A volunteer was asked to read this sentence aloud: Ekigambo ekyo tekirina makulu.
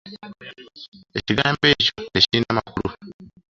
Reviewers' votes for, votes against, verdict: 4, 3, accepted